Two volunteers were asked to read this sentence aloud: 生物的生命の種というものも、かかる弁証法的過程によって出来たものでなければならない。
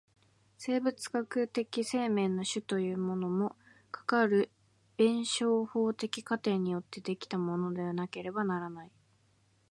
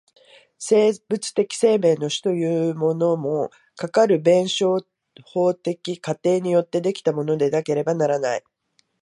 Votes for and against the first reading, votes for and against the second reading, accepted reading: 2, 1, 0, 2, first